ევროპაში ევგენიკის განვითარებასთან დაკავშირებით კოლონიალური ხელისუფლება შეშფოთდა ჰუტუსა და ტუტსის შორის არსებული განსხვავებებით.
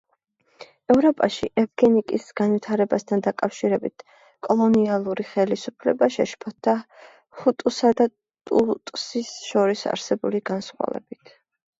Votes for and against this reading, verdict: 1, 2, rejected